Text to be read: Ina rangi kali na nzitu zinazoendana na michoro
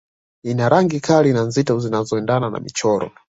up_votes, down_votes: 0, 2